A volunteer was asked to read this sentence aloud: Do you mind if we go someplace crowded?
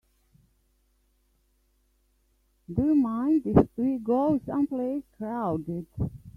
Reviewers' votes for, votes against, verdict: 1, 2, rejected